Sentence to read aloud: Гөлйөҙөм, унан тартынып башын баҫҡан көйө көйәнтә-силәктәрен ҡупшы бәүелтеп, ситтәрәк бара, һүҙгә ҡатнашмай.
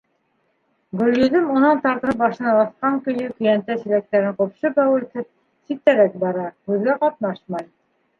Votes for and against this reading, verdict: 1, 2, rejected